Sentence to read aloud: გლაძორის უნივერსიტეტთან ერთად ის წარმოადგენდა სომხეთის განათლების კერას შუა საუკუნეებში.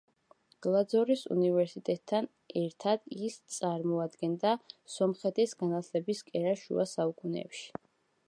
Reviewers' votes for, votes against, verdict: 2, 0, accepted